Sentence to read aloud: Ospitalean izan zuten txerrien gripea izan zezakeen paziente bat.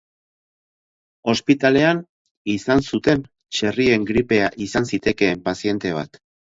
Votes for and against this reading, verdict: 0, 8, rejected